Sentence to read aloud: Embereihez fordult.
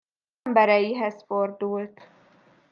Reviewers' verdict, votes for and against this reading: rejected, 1, 2